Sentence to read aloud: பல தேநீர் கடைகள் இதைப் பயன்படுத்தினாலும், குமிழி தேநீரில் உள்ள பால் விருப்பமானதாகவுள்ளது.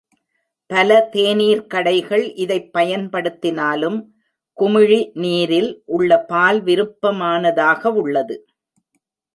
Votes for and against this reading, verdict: 1, 2, rejected